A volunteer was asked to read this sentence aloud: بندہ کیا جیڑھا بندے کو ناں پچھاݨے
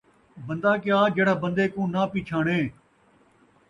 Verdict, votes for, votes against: accepted, 2, 0